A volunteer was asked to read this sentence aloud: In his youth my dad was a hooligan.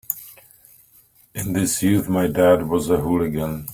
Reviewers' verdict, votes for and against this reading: accepted, 3, 0